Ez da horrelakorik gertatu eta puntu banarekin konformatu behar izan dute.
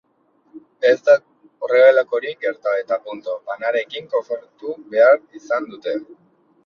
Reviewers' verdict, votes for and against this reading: rejected, 1, 2